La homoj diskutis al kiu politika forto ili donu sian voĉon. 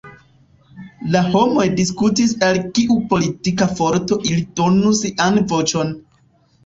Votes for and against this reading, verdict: 1, 2, rejected